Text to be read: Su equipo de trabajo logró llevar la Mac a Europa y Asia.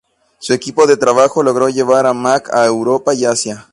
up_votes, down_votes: 2, 0